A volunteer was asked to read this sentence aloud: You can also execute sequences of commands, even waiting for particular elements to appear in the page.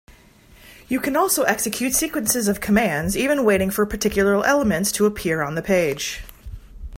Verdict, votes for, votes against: rejected, 0, 3